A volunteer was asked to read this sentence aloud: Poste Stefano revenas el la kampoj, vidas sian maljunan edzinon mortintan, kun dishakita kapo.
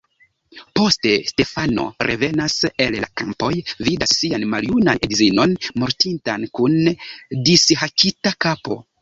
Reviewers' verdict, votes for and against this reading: rejected, 0, 2